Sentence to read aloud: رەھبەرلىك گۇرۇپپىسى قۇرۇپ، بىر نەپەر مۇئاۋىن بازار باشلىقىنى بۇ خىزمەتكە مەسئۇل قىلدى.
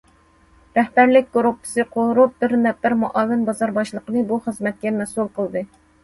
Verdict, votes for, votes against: accepted, 2, 0